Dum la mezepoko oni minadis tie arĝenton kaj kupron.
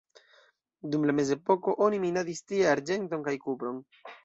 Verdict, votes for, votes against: rejected, 1, 2